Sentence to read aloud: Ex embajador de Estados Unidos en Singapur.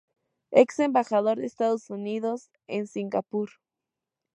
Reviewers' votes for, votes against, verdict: 4, 0, accepted